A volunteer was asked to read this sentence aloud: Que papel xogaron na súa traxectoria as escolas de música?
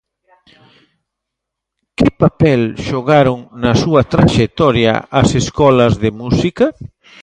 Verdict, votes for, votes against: accepted, 2, 0